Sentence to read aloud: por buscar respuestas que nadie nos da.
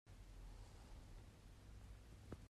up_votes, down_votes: 1, 2